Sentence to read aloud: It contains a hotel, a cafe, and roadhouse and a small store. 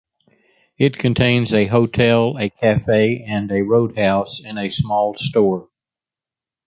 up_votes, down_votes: 1, 2